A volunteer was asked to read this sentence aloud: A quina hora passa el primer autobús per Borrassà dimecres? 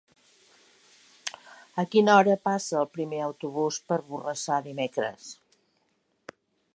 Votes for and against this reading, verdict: 3, 0, accepted